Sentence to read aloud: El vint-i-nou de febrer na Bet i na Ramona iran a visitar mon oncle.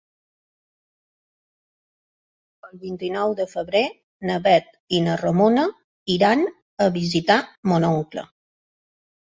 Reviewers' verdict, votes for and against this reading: accepted, 2, 0